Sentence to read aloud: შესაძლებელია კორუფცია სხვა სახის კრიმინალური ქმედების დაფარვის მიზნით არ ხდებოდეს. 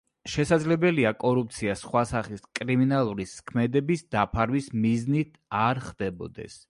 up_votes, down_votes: 0, 2